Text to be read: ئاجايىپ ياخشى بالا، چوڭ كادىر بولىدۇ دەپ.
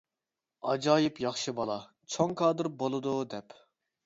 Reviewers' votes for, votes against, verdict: 2, 0, accepted